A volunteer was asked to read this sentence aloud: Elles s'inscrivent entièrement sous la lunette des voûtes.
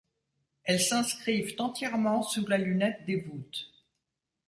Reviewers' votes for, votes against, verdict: 1, 2, rejected